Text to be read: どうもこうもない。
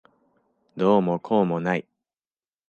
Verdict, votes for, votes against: accepted, 2, 0